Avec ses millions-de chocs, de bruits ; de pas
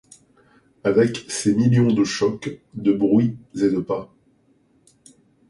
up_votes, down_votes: 1, 2